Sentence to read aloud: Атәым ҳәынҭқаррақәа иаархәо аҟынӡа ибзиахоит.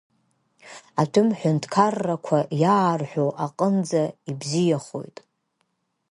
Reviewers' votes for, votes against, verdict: 1, 2, rejected